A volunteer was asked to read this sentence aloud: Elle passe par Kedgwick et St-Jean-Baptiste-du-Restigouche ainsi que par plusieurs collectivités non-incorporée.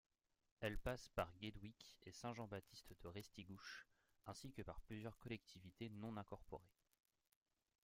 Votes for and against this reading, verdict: 0, 2, rejected